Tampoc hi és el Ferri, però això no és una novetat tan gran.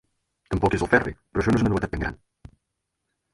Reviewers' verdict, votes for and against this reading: rejected, 2, 8